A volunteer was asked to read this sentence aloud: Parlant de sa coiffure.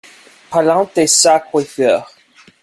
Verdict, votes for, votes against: rejected, 1, 2